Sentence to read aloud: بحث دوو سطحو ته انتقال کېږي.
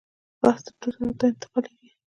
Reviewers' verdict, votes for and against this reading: rejected, 0, 2